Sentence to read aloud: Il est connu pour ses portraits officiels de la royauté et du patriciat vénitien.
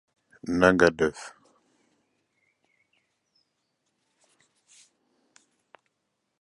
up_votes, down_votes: 0, 2